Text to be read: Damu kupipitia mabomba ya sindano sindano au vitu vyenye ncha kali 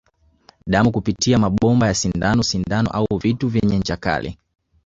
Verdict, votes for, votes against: rejected, 0, 2